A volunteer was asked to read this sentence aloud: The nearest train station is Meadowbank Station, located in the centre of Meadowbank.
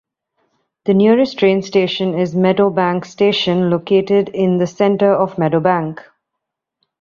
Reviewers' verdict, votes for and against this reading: accepted, 2, 1